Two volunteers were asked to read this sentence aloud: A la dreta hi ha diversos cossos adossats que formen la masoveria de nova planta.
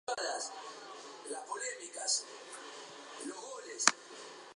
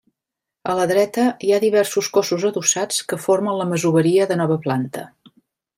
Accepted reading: second